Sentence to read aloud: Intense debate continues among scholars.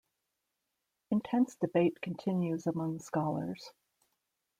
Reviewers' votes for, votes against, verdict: 2, 0, accepted